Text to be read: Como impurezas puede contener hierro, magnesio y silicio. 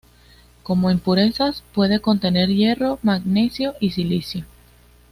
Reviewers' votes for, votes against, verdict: 2, 0, accepted